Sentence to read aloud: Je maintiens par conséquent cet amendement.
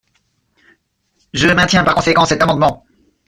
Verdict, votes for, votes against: rejected, 1, 2